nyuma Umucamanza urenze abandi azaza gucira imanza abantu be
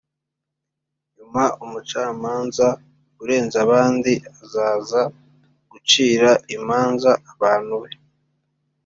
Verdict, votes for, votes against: accepted, 2, 0